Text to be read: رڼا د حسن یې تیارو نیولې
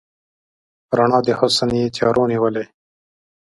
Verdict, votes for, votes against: accepted, 2, 0